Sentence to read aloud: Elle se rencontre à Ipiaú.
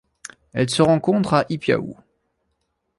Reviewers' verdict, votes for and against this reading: accepted, 2, 0